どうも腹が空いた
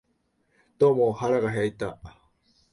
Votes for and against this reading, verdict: 1, 2, rejected